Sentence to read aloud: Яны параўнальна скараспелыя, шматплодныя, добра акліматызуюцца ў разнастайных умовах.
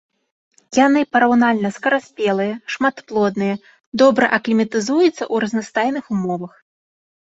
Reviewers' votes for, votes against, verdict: 2, 0, accepted